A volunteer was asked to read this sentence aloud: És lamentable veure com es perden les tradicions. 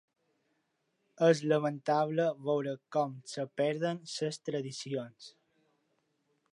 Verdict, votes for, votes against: rejected, 1, 3